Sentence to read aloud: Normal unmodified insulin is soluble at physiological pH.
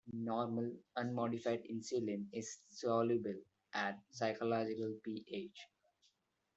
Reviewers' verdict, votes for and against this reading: rejected, 1, 2